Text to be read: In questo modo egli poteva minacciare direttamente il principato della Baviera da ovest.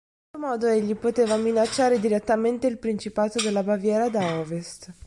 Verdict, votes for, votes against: rejected, 1, 2